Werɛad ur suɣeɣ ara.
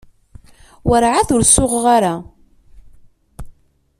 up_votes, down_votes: 2, 0